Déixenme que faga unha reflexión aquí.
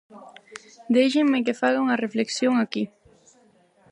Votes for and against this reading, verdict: 4, 0, accepted